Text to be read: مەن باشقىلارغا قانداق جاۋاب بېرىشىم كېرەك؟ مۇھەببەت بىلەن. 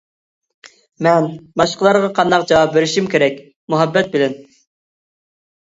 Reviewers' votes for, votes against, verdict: 2, 0, accepted